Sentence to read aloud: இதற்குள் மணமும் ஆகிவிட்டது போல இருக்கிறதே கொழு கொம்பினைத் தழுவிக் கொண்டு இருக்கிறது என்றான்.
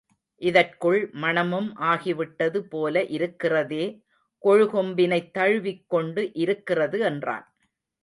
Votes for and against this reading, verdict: 2, 0, accepted